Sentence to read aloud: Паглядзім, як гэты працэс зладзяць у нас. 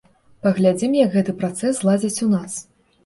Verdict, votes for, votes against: accepted, 2, 0